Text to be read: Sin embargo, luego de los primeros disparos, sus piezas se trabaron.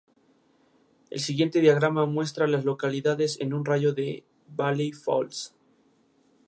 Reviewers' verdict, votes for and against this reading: rejected, 0, 2